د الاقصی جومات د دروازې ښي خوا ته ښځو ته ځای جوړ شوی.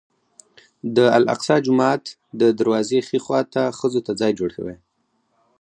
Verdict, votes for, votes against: rejected, 0, 2